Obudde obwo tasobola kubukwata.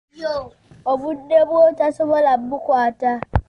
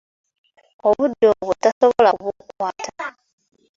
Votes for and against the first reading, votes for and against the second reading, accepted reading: 0, 2, 3, 1, second